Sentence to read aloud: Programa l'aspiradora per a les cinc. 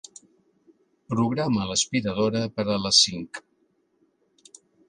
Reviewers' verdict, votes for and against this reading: accepted, 2, 0